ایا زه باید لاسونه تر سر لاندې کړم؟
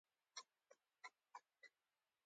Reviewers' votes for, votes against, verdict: 1, 2, rejected